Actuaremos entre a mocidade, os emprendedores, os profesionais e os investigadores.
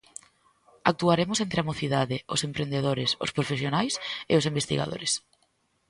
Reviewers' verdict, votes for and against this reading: accepted, 2, 0